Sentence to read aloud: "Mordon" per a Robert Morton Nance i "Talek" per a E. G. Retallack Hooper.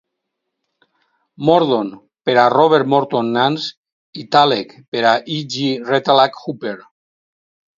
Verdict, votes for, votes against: rejected, 2, 2